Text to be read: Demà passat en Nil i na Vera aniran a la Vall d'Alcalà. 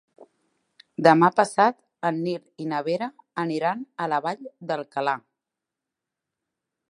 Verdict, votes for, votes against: accepted, 3, 0